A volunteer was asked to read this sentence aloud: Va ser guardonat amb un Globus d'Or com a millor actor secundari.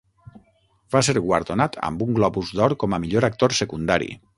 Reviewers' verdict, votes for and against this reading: accepted, 6, 0